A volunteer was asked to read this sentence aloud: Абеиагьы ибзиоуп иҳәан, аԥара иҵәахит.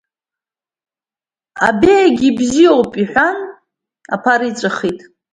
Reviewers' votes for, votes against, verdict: 2, 0, accepted